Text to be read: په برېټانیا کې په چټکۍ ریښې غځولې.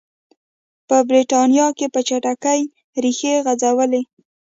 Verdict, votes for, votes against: accepted, 2, 0